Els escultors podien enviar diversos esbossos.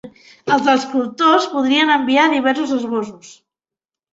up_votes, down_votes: 1, 2